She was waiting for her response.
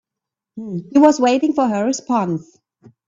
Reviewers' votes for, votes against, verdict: 1, 2, rejected